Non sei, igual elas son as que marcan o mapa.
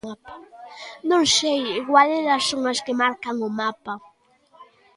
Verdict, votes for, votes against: accepted, 2, 0